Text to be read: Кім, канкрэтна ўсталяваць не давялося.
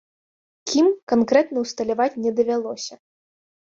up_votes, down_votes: 2, 0